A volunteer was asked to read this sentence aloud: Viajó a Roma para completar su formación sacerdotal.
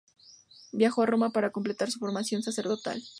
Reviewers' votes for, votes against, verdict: 2, 0, accepted